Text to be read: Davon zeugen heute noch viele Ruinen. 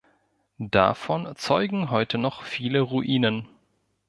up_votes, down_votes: 2, 0